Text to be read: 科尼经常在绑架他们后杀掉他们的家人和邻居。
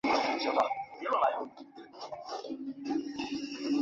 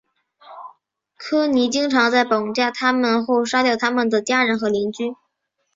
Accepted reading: second